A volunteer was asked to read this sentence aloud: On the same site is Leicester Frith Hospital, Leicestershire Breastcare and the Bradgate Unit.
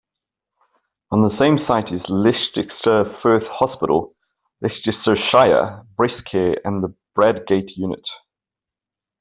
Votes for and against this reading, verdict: 0, 2, rejected